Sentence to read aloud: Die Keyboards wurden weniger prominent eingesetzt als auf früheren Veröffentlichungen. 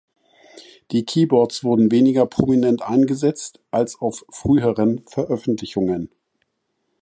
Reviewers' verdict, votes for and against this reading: accepted, 2, 0